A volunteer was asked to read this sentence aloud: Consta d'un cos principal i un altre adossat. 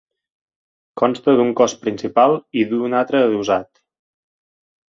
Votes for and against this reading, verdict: 1, 2, rejected